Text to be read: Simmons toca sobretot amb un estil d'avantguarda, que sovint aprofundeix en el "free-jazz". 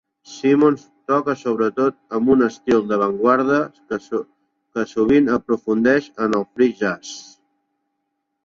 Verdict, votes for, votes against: rejected, 0, 2